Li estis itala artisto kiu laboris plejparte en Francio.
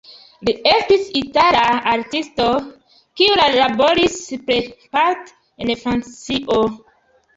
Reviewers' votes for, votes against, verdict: 1, 2, rejected